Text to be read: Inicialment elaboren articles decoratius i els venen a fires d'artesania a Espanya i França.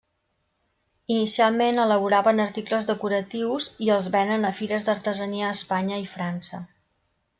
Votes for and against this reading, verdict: 0, 2, rejected